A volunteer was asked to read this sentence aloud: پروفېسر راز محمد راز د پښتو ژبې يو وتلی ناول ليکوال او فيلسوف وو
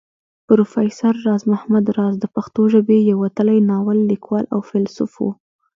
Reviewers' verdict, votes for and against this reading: rejected, 1, 2